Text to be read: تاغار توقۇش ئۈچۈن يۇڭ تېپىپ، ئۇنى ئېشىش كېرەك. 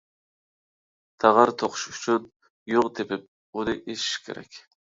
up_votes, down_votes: 2, 0